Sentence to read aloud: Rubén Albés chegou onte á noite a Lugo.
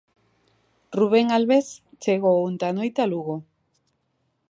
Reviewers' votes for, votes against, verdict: 2, 0, accepted